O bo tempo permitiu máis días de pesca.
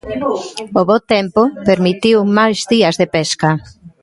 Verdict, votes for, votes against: rejected, 1, 2